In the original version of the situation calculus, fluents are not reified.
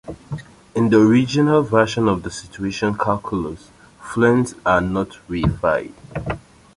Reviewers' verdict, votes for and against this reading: rejected, 1, 2